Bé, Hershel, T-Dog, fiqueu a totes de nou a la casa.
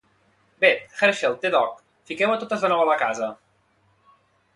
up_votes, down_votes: 2, 0